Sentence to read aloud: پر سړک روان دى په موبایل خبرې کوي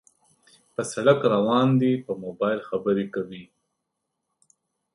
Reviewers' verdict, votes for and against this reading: accepted, 2, 0